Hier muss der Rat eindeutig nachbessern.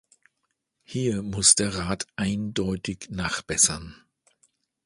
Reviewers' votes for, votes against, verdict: 2, 0, accepted